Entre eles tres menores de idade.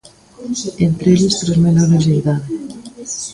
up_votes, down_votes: 1, 2